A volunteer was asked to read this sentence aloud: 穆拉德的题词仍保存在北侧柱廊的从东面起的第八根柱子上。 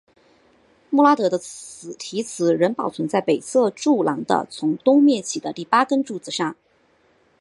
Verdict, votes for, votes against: accepted, 2, 1